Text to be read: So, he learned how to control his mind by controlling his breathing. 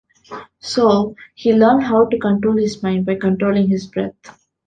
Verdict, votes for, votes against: rejected, 0, 2